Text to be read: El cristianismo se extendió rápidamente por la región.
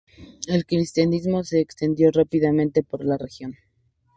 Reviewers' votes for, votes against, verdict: 2, 0, accepted